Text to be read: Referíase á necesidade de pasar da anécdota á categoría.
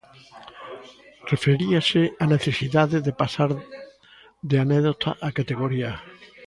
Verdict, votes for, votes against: rejected, 0, 2